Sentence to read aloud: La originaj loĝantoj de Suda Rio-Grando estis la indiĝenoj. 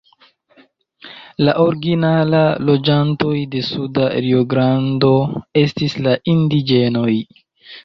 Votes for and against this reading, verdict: 0, 2, rejected